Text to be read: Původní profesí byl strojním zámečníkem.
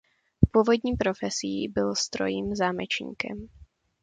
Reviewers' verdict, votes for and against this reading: rejected, 1, 2